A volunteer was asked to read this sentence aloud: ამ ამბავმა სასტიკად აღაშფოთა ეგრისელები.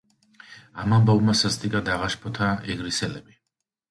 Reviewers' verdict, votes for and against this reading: accepted, 2, 0